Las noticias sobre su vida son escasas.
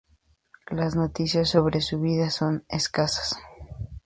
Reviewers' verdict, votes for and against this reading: accepted, 2, 0